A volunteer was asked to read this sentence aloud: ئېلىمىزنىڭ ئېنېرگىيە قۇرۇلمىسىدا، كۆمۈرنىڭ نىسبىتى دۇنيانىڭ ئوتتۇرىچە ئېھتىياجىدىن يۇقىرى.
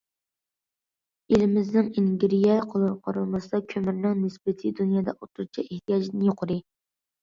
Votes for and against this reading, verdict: 0, 2, rejected